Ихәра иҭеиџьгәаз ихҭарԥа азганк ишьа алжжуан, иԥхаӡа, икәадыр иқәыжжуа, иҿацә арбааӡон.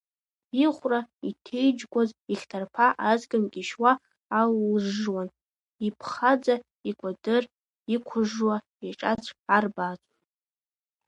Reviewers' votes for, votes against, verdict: 1, 2, rejected